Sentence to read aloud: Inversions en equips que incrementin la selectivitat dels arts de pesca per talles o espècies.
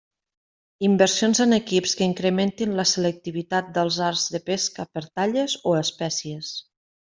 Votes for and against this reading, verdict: 2, 0, accepted